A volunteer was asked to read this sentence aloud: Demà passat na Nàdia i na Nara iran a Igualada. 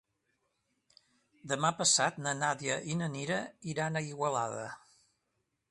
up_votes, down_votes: 0, 2